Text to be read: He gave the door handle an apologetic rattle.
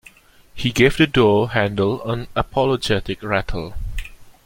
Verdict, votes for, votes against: accepted, 2, 0